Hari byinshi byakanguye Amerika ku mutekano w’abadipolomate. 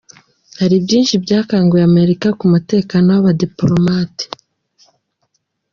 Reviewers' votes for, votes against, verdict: 2, 0, accepted